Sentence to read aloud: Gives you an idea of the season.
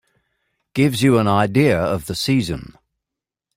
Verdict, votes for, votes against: accepted, 2, 0